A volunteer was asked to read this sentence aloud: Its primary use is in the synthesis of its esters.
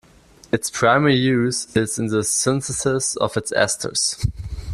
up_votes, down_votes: 2, 0